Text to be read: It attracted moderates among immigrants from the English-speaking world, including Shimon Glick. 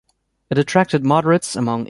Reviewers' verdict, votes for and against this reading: rejected, 0, 2